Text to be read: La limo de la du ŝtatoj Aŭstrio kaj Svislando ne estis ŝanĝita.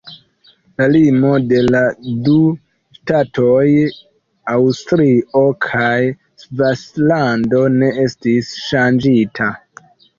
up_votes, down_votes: 1, 2